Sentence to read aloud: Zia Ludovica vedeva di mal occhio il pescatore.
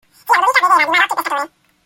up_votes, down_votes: 1, 2